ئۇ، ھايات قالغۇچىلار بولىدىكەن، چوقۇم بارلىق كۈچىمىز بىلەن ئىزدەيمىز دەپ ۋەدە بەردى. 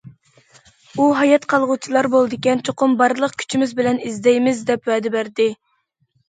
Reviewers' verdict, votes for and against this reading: accepted, 2, 0